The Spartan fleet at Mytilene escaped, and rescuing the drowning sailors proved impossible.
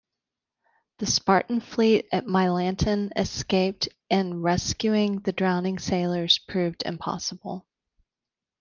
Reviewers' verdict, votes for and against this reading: rejected, 1, 2